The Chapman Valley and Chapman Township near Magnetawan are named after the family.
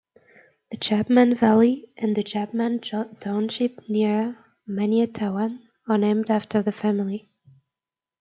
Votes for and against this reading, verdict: 0, 2, rejected